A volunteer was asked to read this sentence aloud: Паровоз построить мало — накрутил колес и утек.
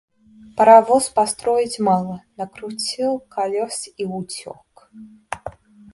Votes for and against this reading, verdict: 2, 0, accepted